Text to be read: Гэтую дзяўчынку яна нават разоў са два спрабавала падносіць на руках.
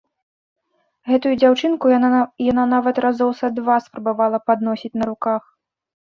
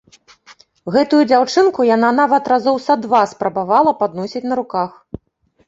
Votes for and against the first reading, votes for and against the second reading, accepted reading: 0, 2, 2, 0, second